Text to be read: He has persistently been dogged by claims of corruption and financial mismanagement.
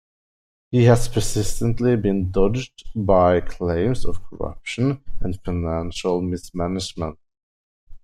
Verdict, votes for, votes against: rejected, 1, 2